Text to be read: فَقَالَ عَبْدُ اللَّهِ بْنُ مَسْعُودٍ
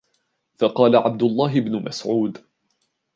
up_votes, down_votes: 2, 0